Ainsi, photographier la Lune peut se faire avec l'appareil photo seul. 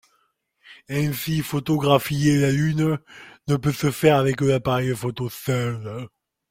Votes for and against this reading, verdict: 0, 2, rejected